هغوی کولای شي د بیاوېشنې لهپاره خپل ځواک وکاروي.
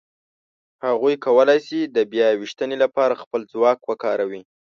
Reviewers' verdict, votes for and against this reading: rejected, 1, 2